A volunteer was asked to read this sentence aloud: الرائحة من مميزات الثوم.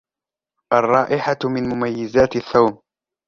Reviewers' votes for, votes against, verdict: 0, 2, rejected